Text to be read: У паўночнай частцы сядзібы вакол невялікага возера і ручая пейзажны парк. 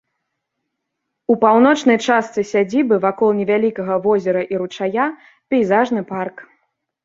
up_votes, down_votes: 2, 0